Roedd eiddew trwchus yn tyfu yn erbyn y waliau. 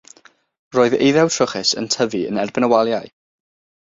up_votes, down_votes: 6, 0